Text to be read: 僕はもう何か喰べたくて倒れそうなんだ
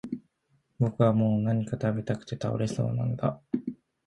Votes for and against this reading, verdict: 2, 0, accepted